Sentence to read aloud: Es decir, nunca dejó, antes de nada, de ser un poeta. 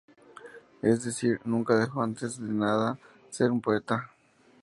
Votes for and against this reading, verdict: 2, 0, accepted